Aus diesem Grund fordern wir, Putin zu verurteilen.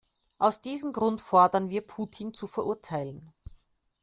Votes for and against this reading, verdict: 2, 0, accepted